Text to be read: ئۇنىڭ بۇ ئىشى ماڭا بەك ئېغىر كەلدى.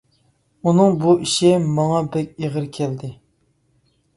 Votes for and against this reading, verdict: 2, 0, accepted